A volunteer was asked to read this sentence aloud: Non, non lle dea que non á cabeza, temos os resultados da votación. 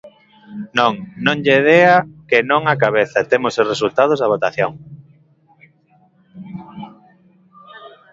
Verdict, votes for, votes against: rejected, 0, 2